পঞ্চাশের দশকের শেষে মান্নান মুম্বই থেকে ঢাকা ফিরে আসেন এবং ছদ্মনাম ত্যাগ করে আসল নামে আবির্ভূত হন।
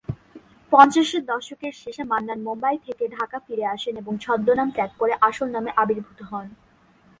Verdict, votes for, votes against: accepted, 3, 0